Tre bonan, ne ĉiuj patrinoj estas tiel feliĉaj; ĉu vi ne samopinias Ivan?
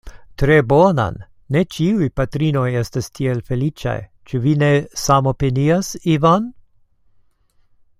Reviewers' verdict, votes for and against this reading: accepted, 2, 0